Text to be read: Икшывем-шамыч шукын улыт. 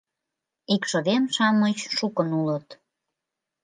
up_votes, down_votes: 2, 0